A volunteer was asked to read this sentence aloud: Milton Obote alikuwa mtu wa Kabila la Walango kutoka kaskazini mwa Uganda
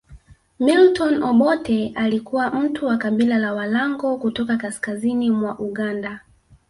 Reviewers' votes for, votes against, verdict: 1, 2, rejected